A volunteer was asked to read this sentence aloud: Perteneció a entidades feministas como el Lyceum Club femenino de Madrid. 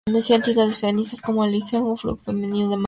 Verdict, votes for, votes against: rejected, 0, 2